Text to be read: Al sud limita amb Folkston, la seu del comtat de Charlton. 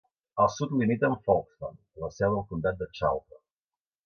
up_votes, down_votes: 2, 1